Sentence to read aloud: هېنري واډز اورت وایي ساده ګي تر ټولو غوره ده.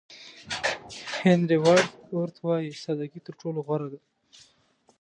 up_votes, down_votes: 1, 2